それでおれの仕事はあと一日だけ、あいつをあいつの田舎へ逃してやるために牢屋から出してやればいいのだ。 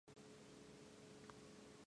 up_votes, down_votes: 0, 2